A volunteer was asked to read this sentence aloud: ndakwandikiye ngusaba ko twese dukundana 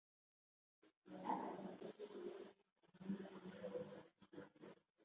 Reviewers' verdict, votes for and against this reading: rejected, 1, 2